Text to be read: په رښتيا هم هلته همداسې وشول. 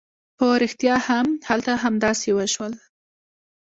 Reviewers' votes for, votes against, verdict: 2, 0, accepted